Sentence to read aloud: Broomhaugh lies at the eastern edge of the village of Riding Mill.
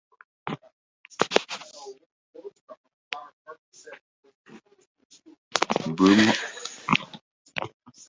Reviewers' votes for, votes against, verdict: 0, 2, rejected